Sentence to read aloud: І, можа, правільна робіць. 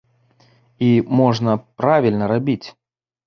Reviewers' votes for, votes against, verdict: 0, 2, rejected